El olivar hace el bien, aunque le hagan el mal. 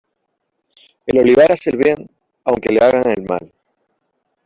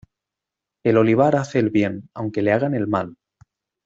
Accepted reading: second